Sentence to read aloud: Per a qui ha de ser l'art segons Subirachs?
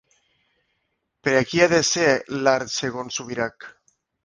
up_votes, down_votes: 1, 2